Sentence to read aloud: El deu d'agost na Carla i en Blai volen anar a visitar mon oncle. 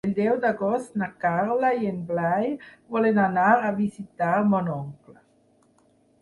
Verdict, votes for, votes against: accepted, 6, 0